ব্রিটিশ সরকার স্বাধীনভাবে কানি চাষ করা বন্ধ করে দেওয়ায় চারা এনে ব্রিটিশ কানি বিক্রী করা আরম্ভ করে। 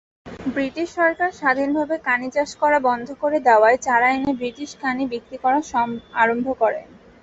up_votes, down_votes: 2, 2